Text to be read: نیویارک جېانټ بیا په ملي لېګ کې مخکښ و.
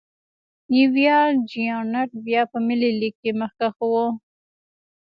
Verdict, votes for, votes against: accepted, 2, 1